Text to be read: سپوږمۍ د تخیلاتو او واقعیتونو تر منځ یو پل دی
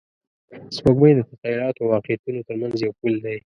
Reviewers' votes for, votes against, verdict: 0, 2, rejected